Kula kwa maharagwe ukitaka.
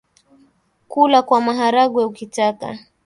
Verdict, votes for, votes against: rejected, 1, 2